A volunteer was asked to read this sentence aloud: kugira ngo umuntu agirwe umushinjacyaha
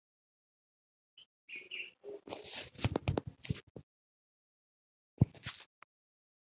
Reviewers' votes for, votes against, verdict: 0, 2, rejected